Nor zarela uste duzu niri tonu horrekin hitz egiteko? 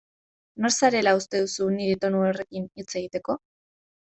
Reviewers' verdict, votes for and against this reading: accepted, 2, 0